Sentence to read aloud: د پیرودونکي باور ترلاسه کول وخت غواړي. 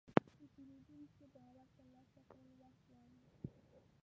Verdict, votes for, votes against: rejected, 0, 2